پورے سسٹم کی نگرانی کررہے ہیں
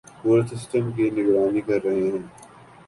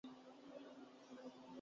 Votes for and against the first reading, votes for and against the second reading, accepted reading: 4, 0, 0, 3, first